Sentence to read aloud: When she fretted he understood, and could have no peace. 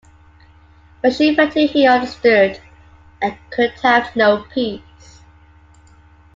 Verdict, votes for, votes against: rejected, 0, 2